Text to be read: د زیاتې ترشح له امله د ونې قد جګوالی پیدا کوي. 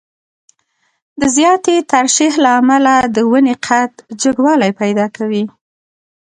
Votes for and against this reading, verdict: 2, 1, accepted